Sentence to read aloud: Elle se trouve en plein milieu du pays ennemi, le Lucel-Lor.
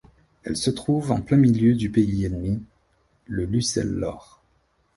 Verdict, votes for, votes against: accepted, 2, 0